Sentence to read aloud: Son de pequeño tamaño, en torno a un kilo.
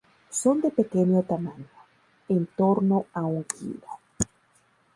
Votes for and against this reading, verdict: 4, 0, accepted